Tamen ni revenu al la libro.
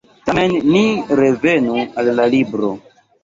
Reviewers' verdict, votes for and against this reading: rejected, 1, 2